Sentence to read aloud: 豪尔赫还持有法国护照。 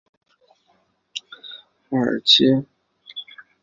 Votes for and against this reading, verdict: 0, 2, rejected